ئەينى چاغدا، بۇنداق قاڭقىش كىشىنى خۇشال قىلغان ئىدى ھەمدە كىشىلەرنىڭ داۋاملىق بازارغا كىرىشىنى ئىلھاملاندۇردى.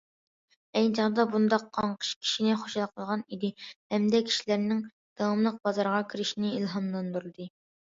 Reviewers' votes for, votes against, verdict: 2, 0, accepted